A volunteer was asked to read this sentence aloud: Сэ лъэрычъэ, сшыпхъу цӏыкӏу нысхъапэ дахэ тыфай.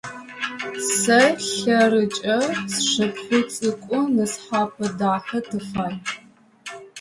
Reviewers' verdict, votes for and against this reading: rejected, 1, 3